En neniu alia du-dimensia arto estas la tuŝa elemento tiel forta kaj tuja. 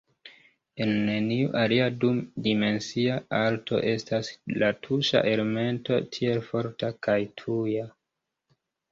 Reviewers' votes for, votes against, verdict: 1, 2, rejected